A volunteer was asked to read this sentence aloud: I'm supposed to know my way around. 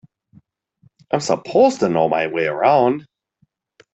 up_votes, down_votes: 2, 0